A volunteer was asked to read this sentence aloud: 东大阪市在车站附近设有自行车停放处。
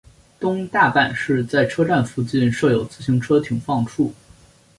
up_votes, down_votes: 2, 0